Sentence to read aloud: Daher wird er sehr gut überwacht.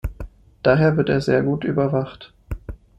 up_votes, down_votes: 2, 0